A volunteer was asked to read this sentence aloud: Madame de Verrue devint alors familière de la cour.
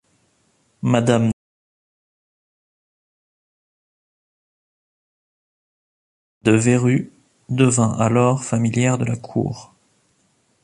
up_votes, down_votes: 0, 2